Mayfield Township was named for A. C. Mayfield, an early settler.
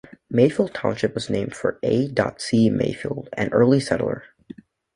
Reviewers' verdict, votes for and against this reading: rejected, 2, 3